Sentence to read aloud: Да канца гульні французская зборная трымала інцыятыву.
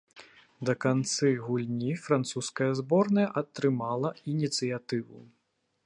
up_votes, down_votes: 0, 2